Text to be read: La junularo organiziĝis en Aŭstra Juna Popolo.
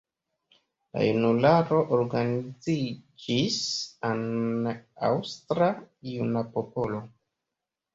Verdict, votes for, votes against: accepted, 2, 0